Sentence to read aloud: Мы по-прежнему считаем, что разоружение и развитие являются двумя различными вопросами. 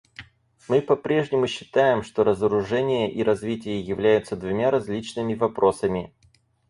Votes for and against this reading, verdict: 4, 0, accepted